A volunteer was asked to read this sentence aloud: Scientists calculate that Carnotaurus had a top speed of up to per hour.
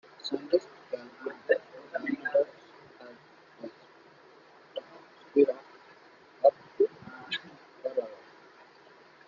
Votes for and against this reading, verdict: 0, 2, rejected